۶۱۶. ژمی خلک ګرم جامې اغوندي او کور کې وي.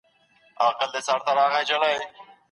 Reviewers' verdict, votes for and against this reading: rejected, 0, 2